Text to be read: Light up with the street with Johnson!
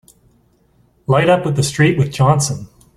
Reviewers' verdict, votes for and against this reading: accepted, 2, 0